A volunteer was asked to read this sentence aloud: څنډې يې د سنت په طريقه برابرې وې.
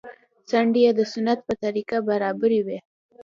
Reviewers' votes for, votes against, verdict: 2, 0, accepted